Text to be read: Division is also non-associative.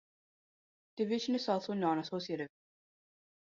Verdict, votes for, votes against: accepted, 2, 0